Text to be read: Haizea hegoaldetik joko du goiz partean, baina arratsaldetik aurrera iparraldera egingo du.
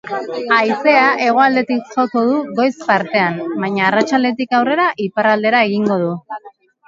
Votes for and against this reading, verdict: 2, 0, accepted